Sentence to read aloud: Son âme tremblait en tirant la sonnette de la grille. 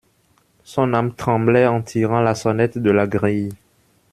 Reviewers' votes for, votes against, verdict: 2, 0, accepted